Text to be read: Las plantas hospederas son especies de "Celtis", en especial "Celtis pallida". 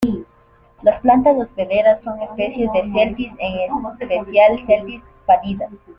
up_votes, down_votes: 2, 1